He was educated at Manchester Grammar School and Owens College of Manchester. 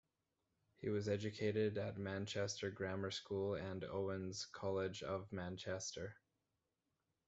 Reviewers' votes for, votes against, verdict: 2, 1, accepted